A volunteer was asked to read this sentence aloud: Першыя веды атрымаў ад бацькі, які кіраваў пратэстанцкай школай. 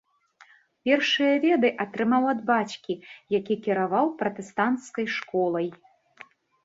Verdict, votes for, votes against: accepted, 2, 0